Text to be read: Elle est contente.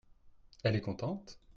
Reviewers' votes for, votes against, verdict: 2, 0, accepted